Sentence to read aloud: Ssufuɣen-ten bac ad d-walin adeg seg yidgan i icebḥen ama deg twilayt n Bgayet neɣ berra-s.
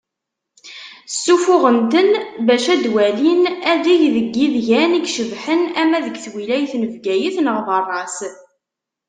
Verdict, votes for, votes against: rejected, 0, 2